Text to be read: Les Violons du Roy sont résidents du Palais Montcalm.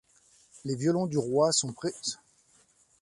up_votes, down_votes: 0, 2